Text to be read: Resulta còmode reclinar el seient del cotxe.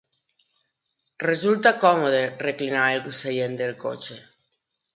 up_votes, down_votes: 3, 1